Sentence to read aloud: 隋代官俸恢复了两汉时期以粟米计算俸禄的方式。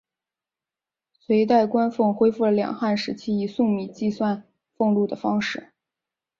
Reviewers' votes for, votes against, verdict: 2, 0, accepted